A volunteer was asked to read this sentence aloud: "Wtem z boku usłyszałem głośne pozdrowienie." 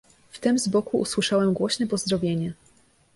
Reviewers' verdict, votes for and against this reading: accepted, 2, 0